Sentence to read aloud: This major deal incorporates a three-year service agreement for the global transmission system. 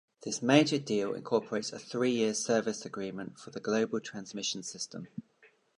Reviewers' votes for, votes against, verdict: 2, 0, accepted